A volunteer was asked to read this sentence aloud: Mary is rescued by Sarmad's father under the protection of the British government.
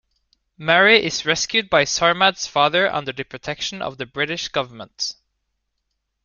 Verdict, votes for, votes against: accepted, 2, 0